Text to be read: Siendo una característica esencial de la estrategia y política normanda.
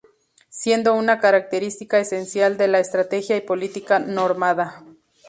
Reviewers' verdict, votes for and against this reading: rejected, 0, 2